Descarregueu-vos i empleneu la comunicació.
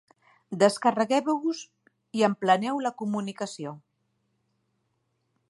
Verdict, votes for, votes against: rejected, 1, 2